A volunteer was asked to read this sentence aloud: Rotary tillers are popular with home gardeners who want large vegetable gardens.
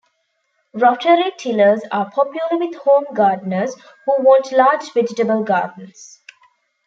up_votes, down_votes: 2, 0